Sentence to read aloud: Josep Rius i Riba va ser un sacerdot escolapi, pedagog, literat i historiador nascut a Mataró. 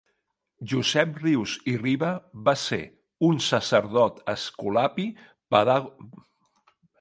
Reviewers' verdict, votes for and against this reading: rejected, 1, 2